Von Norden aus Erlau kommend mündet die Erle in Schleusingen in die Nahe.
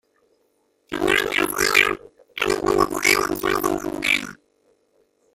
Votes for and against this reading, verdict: 0, 2, rejected